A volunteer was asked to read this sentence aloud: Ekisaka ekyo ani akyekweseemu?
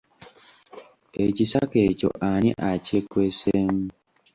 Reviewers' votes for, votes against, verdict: 2, 0, accepted